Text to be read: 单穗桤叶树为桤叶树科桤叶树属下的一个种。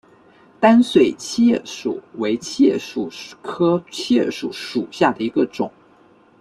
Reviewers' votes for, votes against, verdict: 2, 1, accepted